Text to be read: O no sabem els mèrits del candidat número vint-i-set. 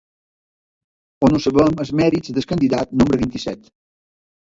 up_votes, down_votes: 1, 3